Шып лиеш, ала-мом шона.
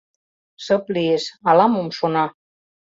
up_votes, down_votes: 2, 0